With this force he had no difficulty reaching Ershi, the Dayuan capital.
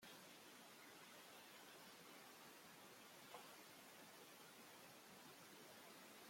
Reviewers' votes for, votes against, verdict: 0, 2, rejected